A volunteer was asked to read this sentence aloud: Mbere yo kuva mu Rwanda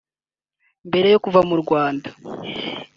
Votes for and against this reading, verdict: 3, 0, accepted